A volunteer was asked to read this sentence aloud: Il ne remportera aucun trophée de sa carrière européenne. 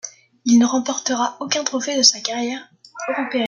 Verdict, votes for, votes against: rejected, 0, 2